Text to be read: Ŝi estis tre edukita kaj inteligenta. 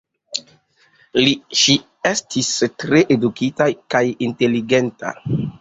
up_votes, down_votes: 0, 2